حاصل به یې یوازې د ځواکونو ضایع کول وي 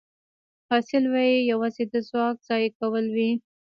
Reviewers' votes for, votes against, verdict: 1, 2, rejected